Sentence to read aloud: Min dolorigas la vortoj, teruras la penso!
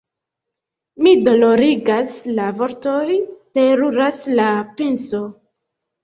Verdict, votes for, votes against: rejected, 1, 2